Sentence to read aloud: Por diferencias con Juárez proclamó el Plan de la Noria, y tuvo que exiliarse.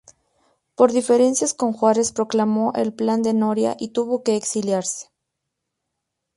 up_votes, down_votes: 0, 2